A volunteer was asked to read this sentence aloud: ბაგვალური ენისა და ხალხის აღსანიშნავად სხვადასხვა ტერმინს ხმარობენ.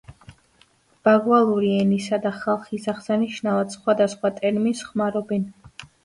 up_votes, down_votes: 2, 0